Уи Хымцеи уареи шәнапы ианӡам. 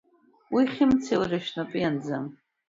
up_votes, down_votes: 2, 0